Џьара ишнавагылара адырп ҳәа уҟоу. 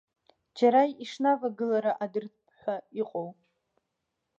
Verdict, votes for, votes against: rejected, 1, 2